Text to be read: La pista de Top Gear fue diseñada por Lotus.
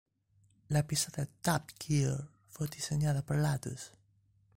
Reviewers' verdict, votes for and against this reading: rejected, 1, 2